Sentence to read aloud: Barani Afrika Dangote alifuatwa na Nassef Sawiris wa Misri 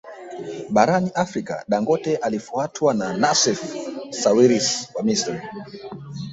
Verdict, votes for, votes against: rejected, 0, 2